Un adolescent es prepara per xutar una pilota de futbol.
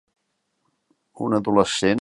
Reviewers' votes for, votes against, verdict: 0, 2, rejected